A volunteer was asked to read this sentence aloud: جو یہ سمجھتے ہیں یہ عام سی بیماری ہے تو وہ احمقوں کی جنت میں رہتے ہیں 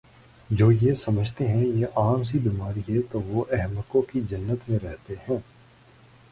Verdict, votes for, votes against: rejected, 1, 2